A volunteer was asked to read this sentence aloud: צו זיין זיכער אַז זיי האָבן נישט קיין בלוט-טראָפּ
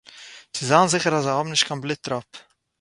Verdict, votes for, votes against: accepted, 4, 0